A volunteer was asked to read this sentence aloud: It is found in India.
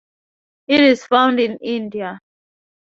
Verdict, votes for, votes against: accepted, 2, 0